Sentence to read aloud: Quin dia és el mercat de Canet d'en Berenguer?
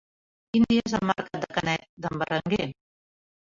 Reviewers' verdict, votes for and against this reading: rejected, 0, 2